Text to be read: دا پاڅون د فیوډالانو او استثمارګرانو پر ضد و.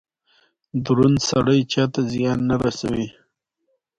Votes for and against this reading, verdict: 1, 2, rejected